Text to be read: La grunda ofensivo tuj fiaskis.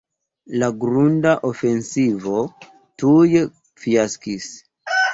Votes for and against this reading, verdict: 0, 2, rejected